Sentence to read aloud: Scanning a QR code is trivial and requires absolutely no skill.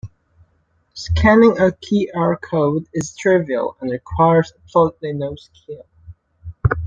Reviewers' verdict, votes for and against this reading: rejected, 1, 2